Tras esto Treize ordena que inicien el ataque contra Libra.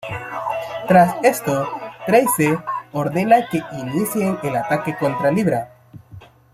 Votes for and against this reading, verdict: 1, 2, rejected